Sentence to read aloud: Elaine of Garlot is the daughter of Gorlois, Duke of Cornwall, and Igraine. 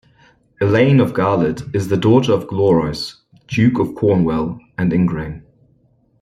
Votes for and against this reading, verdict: 0, 2, rejected